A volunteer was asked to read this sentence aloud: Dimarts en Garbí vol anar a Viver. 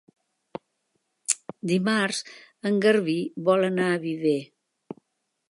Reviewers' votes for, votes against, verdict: 3, 0, accepted